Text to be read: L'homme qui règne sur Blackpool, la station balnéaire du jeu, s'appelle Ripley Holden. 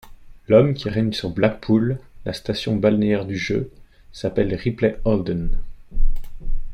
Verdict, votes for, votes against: accepted, 2, 0